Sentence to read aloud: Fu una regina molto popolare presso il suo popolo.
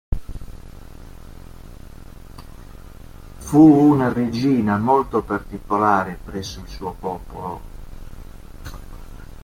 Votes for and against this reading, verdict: 0, 3, rejected